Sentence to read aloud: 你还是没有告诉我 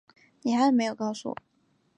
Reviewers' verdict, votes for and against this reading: rejected, 0, 2